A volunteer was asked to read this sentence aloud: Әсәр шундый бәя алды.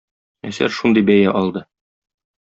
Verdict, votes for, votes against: accepted, 2, 0